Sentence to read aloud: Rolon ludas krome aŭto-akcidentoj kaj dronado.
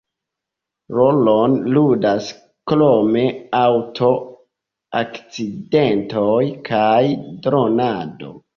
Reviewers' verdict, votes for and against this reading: accepted, 2, 0